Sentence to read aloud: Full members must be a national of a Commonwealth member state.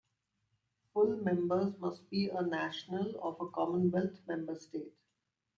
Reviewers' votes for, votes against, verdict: 2, 0, accepted